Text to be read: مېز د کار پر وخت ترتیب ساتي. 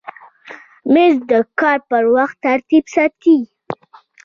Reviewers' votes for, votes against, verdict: 2, 0, accepted